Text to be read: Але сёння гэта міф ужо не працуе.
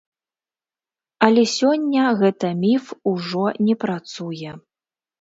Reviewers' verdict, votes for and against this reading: accepted, 2, 0